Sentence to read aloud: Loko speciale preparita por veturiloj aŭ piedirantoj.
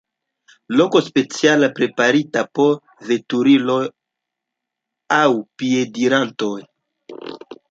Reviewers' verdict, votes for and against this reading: rejected, 1, 2